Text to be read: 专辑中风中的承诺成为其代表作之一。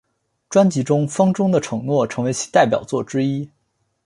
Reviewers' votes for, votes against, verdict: 2, 0, accepted